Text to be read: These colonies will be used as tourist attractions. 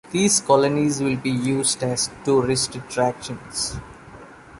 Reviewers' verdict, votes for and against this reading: rejected, 1, 2